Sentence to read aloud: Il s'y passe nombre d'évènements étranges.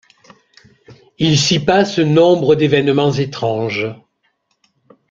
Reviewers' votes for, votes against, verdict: 2, 0, accepted